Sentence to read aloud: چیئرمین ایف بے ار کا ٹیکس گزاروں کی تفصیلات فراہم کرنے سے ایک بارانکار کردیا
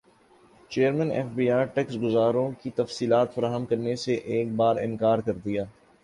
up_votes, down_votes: 5, 0